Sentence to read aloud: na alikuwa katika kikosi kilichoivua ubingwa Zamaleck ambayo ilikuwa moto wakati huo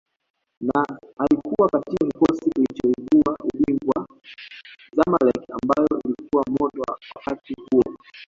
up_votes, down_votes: 0, 2